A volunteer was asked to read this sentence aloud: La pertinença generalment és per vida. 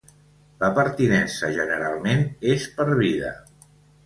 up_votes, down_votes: 2, 0